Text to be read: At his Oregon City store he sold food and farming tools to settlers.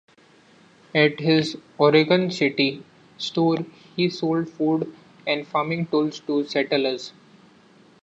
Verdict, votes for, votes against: accepted, 2, 1